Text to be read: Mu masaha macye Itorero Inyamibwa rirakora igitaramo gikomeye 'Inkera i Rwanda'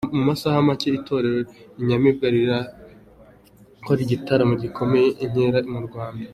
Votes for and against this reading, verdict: 3, 0, accepted